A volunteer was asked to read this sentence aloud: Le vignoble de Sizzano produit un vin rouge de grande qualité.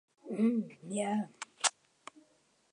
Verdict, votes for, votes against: rejected, 0, 2